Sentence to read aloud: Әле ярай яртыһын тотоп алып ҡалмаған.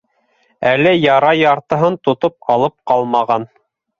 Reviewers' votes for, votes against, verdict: 2, 0, accepted